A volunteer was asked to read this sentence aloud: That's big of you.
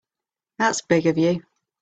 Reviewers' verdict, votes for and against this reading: accepted, 2, 1